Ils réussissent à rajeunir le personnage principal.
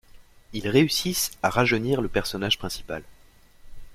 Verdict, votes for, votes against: accepted, 2, 0